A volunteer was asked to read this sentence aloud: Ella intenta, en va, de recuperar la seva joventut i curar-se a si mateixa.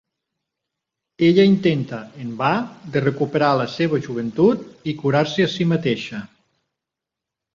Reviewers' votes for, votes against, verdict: 4, 0, accepted